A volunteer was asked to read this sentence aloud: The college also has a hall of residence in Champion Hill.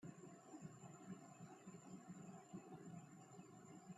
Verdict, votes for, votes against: rejected, 1, 2